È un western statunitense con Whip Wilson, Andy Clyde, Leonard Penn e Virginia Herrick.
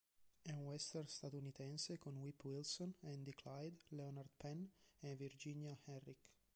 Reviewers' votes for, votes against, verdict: 3, 2, accepted